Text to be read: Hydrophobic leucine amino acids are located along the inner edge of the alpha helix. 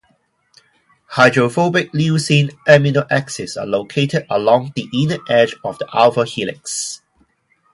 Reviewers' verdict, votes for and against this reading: rejected, 0, 4